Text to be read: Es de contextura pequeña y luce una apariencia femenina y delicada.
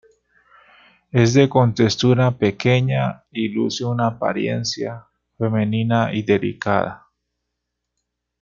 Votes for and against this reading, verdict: 1, 2, rejected